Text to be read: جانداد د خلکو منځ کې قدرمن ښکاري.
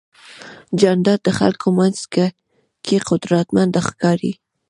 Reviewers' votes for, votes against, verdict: 0, 2, rejected